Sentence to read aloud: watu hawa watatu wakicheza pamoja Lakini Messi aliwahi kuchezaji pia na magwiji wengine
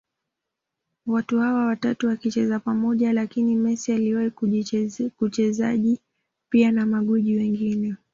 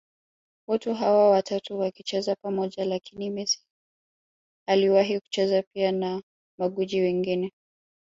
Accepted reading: second